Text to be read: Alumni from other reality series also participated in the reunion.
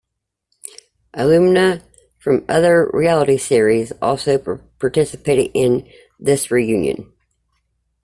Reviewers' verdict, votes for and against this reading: rejected, 1, 2